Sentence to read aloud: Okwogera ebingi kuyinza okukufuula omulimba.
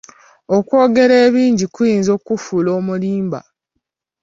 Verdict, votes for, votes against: accepted, 2, 1